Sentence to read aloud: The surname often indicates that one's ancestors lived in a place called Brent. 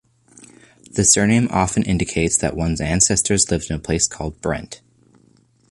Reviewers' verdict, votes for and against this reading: accepted, 2, 0